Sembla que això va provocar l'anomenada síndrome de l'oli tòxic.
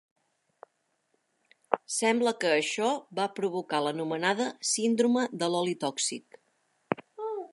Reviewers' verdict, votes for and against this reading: rejected, 1, 2